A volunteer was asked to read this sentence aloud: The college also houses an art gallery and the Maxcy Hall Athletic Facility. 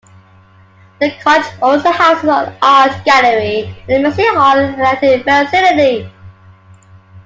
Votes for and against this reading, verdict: 1, 2, rejected